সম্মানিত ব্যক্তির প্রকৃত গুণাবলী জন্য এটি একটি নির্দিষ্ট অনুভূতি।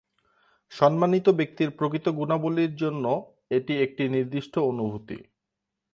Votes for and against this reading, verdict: 4, 1, accepted